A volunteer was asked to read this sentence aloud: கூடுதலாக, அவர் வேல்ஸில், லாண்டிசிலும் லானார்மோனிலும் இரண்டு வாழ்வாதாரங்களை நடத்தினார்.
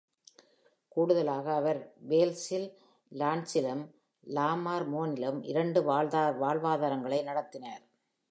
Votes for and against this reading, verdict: 1, 2, rejected